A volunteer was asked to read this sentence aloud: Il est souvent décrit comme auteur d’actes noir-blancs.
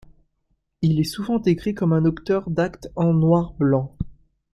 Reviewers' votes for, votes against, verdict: 0, 2, rejected